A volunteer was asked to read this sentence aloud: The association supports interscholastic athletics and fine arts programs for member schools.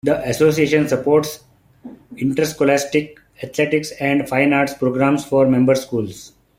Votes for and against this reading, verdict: 2, 0, accepted